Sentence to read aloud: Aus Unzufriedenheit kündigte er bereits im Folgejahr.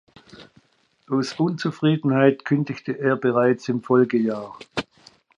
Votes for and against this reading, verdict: 2, 0, accepted